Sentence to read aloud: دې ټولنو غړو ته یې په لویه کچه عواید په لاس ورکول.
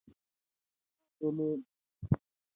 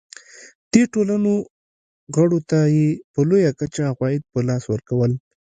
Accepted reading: second